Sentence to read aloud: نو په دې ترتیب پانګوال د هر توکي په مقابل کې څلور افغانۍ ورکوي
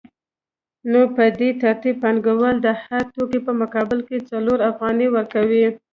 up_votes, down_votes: 2, 0